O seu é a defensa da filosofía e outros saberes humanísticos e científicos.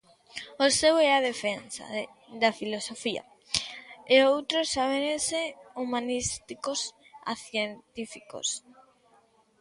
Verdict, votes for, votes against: rejected, 0, 2